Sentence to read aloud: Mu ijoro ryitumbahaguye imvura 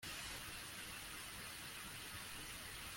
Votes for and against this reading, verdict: 0, 2, rejected